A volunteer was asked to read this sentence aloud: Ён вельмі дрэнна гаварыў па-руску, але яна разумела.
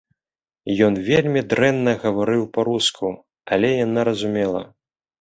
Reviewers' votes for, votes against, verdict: 2, 0, accepted